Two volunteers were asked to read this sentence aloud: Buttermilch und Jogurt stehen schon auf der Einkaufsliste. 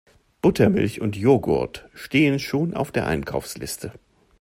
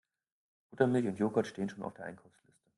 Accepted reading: first